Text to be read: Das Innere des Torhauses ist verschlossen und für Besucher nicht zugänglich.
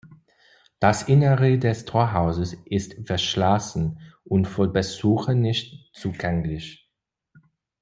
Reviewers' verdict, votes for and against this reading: rejected, 1, 2